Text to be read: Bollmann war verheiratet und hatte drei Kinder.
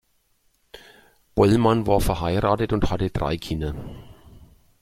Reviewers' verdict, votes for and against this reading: accepted, 2, 0